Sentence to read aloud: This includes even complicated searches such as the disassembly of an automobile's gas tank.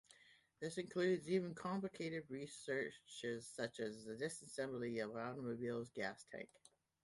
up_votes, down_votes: 2, 0